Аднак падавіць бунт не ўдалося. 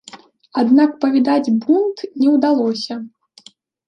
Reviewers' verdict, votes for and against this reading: rejected, 0, 2